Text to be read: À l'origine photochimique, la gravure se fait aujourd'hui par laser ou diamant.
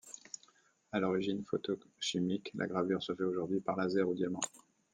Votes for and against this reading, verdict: 1, 2, rejected